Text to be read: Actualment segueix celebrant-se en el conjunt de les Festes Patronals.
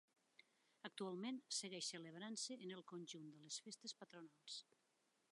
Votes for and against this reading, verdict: 2, 0, accepted